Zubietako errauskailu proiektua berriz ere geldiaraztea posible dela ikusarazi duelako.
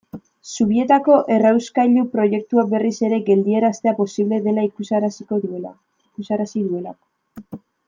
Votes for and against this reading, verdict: 0, 2, rejected